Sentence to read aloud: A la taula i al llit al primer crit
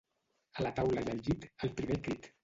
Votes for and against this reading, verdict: 1, 2, rejected